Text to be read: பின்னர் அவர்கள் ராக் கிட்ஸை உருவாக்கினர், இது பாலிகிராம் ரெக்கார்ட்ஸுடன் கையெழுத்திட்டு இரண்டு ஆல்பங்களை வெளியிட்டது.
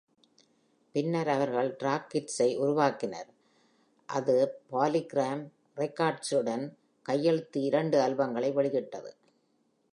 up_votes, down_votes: 1, 2